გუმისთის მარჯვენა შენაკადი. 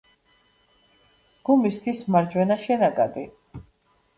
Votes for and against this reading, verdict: 0, 2, rejected